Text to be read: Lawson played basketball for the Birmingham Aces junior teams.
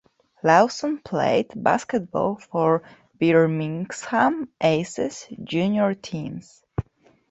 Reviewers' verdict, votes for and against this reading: rejected, 0, 2